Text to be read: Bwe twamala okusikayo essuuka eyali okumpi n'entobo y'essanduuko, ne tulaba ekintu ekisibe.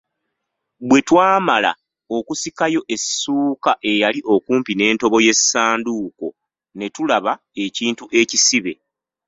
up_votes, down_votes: 1, 2